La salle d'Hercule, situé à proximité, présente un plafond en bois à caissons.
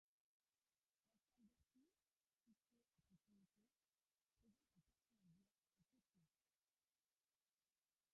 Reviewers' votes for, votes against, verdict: 0, 2, rejected